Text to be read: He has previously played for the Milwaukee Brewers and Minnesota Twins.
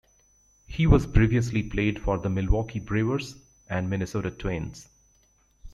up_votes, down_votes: 0, 2